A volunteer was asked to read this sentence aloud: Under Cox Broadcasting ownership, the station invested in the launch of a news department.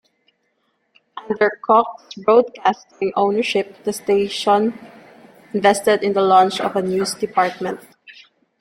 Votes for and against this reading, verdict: 1, 2, rejected